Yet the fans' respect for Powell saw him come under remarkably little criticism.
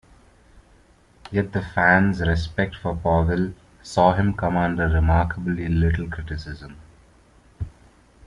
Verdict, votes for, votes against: accepted, 2, 0